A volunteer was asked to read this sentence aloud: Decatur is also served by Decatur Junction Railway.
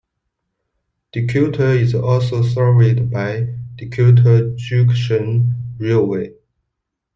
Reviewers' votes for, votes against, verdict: 0, 2, rejected